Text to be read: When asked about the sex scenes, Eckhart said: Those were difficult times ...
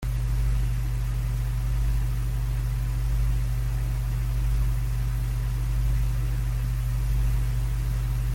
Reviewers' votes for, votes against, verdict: 0, 2, rejected